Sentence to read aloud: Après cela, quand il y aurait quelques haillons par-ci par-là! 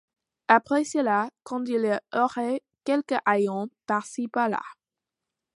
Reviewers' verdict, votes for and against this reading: accepted, 2, 1